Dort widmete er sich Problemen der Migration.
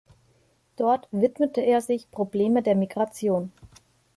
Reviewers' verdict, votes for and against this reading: rejected, 1, 2